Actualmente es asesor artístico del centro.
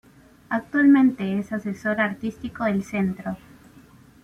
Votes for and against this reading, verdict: 2, 0, accepted